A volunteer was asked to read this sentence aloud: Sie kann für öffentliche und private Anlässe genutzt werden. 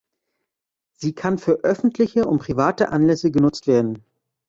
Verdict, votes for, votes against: accepted, 3, 0